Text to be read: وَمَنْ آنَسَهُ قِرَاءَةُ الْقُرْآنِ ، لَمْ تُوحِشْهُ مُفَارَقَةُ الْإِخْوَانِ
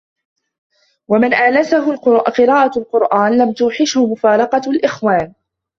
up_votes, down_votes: 0, 2